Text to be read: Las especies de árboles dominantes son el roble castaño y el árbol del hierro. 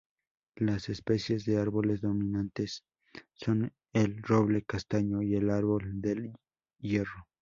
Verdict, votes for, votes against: accepted, 4, 2